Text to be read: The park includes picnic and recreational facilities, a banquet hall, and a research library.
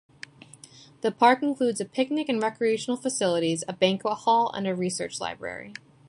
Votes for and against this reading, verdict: 1, 2, rejected